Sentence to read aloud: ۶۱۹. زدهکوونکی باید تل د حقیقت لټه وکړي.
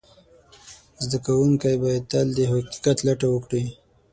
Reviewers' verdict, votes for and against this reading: rejected, 0, 2